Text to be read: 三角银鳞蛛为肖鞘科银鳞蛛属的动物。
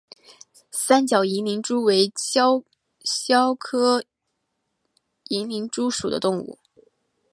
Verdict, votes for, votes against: accepted, 2, 1